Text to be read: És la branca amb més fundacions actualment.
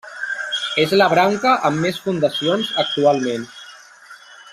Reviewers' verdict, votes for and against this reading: rejected, 1, 2